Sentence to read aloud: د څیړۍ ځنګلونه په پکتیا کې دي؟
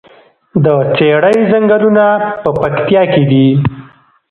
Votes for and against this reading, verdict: 2, 1, accepted